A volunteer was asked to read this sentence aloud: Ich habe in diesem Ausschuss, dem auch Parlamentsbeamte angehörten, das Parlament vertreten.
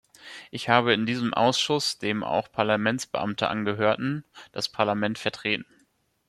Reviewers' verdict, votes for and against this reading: accepted, 2, 0